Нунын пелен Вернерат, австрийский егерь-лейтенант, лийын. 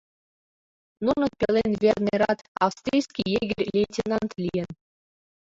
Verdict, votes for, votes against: rejected, 0, 2